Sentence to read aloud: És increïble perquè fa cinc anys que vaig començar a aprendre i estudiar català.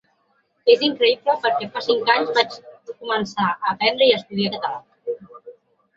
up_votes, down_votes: 0, 2